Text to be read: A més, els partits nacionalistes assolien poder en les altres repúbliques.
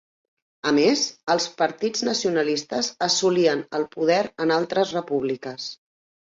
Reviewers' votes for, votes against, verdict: 0, 5, rejected